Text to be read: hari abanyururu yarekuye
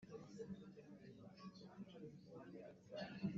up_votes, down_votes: 0, 2